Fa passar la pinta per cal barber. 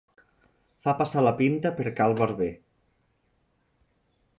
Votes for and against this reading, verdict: 3, 0, accepted